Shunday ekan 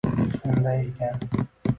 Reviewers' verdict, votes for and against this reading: rejected, 0, 2